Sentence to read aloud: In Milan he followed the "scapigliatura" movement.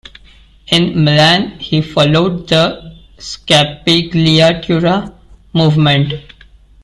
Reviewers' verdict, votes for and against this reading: rejected, 0, 2